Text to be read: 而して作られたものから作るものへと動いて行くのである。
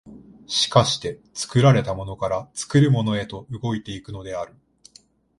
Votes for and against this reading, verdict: 2, 0, accepted